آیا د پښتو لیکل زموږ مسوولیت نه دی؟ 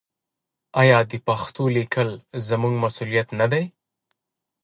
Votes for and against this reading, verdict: 1, 2, rejected